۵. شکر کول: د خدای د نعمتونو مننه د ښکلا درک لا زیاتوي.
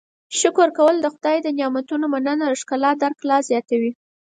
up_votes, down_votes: 0, 2